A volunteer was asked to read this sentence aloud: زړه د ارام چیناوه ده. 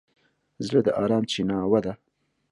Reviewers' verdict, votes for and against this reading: accepted, 2, 0